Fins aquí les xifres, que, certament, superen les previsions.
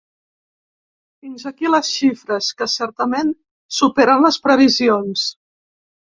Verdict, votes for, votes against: accepted, 3, 0